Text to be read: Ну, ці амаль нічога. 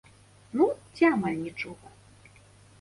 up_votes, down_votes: 2, 0